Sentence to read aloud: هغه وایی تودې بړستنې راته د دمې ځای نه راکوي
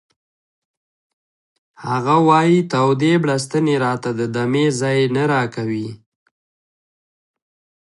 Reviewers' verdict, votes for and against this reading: rejected, 1, 2